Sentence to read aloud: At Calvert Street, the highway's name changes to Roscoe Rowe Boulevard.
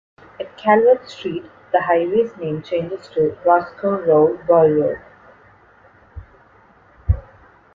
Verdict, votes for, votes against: rejected, 0, 2